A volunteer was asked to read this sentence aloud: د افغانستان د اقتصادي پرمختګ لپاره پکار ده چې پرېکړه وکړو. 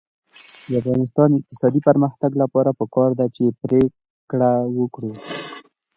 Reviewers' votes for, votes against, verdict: 2, 0, accepted